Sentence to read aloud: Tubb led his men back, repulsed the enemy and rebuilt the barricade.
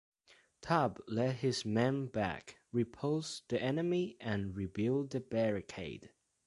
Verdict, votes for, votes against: rejected, 1, 2